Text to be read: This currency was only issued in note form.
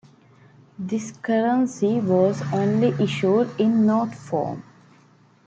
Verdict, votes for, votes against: accepted, 2, 0